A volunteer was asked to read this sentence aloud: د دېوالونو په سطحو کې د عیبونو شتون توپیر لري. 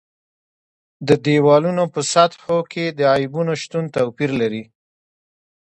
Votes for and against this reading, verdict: 1, 2, rejected